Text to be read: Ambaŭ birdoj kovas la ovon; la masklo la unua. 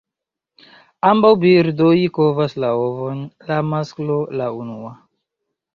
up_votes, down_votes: 2, 1